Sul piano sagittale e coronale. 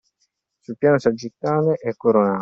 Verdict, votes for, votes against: rejected, 0, 2